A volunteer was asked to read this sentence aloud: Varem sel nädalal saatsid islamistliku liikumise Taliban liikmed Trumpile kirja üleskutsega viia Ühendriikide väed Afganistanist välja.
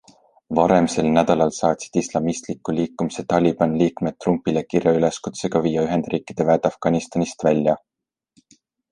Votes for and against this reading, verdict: 2, 0, accepted